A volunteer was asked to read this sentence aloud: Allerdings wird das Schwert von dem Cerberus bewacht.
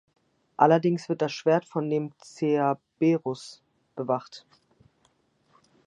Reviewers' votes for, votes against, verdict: 1, 2, rejected